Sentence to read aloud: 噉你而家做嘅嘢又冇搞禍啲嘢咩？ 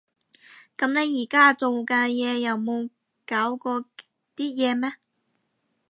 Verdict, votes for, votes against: rejected, 0, 2